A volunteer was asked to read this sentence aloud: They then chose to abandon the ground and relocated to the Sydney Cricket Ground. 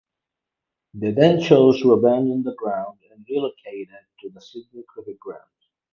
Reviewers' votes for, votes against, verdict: 4, 0, accepted